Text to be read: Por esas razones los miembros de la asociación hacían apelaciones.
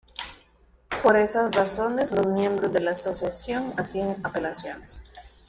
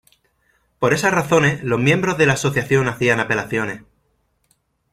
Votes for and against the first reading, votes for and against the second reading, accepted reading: 1, 3, 2, 0, second